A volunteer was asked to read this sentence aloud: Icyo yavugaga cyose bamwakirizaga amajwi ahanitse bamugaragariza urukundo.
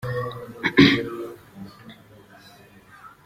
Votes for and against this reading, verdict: 0, 2, rejected